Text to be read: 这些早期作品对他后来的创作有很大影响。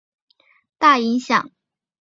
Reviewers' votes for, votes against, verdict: 0, 2, rejected